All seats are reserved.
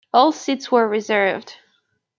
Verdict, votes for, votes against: rejected, 0, 2